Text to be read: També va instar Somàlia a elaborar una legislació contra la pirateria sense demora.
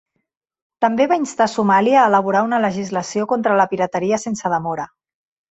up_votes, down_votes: 2, 0